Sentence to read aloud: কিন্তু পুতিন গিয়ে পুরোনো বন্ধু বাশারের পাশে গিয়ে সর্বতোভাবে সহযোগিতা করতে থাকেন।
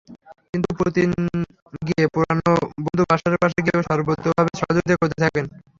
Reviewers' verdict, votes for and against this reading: rejected, 0, 3